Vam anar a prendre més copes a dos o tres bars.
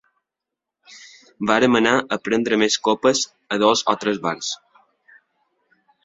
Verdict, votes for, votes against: rejected, 2, 3